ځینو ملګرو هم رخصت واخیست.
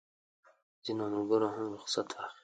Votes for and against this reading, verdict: 1, 2, rejected